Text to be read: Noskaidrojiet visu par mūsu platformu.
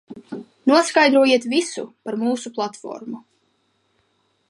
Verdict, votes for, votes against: accepted, 2, 0